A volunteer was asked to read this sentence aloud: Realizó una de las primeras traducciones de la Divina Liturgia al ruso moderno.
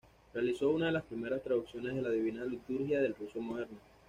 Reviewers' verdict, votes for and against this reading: rejected, 1, 2